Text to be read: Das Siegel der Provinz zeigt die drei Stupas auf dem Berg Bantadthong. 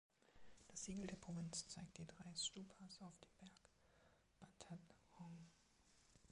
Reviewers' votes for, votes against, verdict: 1, 2, rejected